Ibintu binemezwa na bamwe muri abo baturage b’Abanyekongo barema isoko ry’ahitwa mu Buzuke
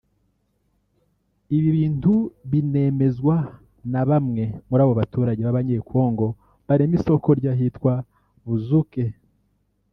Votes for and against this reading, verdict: 1, 2, rejected